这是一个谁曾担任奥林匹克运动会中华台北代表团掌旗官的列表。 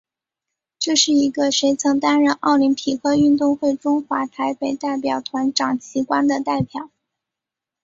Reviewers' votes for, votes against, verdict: 5, 3, accepted